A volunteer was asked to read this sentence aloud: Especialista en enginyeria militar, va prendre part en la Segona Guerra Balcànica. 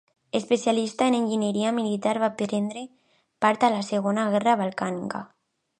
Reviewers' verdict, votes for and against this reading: accepted, 2, 1